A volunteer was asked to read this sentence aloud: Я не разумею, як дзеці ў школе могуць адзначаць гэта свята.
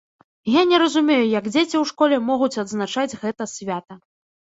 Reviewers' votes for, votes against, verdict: 2, 0, accepted